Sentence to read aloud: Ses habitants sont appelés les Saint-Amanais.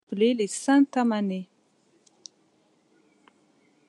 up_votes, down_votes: 1, 2